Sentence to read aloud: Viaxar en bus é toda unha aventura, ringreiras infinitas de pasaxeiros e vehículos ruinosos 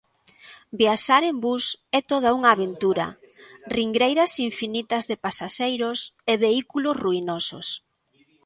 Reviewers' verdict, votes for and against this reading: accepted, 2, 0